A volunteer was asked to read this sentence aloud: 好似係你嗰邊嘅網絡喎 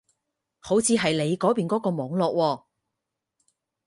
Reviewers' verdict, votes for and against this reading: rejected, 2, 4